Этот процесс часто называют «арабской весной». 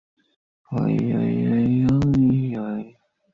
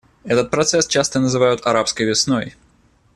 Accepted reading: second